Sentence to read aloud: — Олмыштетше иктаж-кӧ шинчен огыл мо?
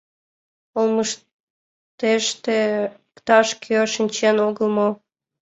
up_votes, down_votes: 0, 2